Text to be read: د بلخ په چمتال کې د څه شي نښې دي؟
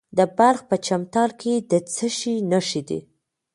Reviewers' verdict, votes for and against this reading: rejected, 1, 2